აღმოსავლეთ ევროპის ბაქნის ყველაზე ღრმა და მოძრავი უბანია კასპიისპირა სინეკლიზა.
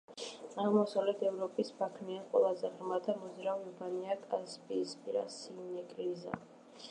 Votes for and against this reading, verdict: 1, 2, rejected